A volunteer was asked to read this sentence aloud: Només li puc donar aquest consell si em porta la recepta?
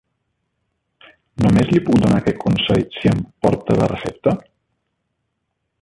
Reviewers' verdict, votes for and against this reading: rejected, 1, 2